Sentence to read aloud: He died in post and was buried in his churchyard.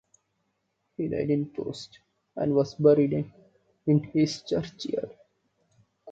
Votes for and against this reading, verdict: 2, 3, rejected